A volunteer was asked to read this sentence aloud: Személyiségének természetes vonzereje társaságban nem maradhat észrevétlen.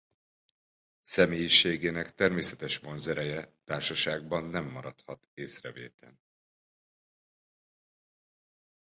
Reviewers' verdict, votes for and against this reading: rejected, 1, 2